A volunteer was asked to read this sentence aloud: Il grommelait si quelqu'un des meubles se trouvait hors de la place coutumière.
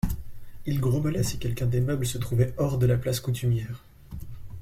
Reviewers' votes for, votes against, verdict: 2, 0, accepted